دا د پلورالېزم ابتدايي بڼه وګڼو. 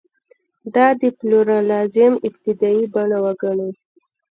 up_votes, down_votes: 2, 0